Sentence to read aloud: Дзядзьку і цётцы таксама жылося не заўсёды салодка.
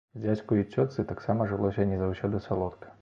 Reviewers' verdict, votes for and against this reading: accepted, 2, 0